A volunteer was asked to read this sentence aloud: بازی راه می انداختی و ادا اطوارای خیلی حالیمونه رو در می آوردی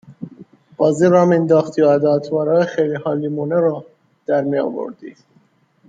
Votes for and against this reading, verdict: 0, 2, rejected